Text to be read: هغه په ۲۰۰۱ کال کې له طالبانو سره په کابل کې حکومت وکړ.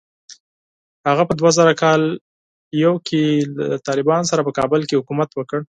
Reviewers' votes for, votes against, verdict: 0, 2, rejected